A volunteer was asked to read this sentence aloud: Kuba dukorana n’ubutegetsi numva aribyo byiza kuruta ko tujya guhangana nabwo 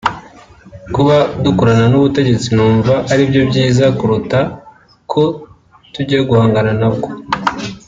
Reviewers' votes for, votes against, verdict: 2, 0, accepted